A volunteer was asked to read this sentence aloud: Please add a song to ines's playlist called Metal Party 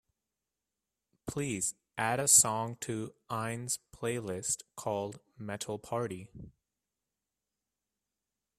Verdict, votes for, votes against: accepted, 2, 0